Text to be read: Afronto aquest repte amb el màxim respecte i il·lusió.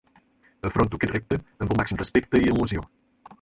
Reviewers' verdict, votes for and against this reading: accepted, 6, 0